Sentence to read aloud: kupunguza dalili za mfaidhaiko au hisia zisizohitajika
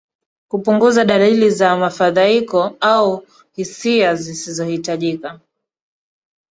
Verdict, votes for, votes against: rejected, 1, 2